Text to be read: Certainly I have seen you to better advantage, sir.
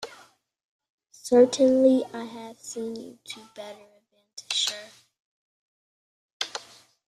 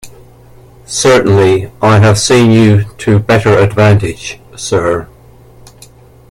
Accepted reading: second